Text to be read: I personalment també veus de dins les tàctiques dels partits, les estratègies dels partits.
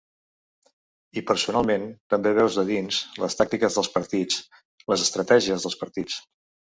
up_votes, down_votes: 2, 0